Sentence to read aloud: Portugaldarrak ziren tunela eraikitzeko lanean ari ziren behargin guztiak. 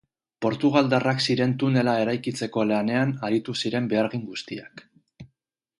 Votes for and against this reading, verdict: 2, 4, rejected